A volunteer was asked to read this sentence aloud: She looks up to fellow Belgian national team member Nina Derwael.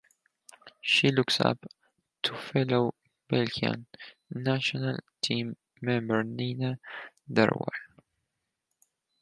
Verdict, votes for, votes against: accepted, 4, 0